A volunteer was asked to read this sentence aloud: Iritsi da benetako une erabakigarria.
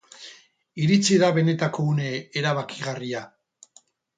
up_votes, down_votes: 2, 2